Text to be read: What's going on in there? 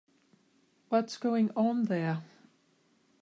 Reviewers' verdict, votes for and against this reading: rejected, 0, 2